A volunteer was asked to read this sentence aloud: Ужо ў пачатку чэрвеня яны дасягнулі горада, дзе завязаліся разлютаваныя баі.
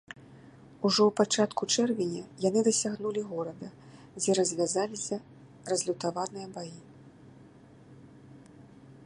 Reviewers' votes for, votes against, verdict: 0, 2, rejected